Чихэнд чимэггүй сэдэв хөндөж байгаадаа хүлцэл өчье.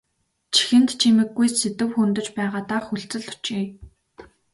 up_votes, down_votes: 2, 0